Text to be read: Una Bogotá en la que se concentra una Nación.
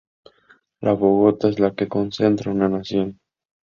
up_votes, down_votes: 2, 0